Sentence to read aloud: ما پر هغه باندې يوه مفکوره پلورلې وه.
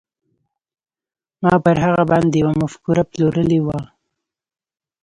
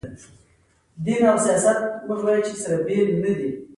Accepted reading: second